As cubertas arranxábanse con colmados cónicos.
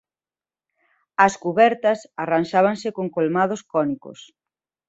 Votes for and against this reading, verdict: 2, 0, accepted